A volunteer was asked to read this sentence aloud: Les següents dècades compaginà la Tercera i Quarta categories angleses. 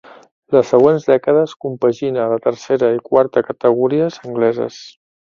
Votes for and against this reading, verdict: 0, 2, rejected